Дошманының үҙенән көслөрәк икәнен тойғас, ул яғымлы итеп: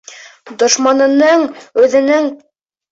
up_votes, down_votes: 0, 2